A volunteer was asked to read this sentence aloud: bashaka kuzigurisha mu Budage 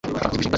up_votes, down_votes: 1, 2